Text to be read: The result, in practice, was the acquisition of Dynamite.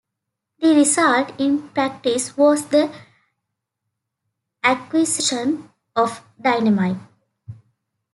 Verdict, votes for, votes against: accepted, 2, 1